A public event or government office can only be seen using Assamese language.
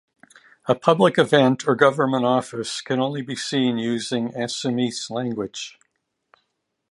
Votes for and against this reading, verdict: 2, 0, accepted